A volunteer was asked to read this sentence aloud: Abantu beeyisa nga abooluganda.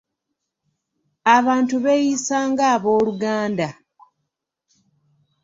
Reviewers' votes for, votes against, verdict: 2, 0, accepted